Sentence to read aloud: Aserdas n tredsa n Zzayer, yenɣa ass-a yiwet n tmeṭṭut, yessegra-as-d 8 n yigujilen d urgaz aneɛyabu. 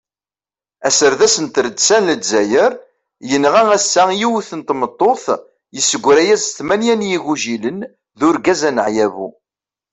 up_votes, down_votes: 0, 2